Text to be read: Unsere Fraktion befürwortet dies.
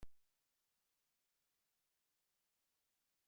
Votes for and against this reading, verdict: 0, 2, rejected